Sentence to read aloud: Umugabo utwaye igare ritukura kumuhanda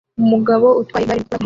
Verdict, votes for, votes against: rejected, 0, 2